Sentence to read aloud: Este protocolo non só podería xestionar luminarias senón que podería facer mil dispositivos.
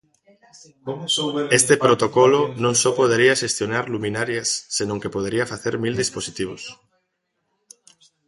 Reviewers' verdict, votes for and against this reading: rejected, 1, 2